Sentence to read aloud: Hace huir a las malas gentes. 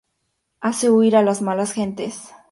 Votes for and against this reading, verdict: 2, 0, accepted